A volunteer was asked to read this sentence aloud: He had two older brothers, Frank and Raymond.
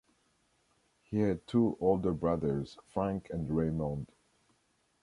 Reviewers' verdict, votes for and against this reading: accepted, 2, 0